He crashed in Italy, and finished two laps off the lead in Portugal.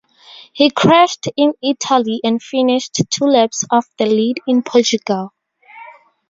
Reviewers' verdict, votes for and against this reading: accepted, 2, 0